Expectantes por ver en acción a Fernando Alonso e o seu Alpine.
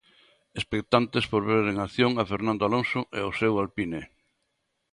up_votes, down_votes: 2, 0